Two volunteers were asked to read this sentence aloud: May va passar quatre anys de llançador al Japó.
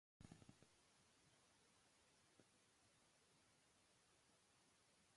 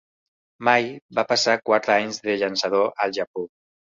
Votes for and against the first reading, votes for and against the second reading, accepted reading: 1, 2, 2, 0, second